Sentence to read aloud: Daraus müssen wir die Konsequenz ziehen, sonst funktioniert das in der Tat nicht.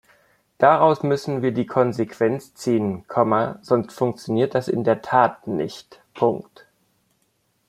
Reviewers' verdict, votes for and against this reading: rejected, 0, 2